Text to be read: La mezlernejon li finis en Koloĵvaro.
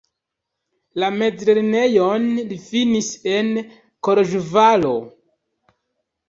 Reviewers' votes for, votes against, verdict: 1, 2, rejected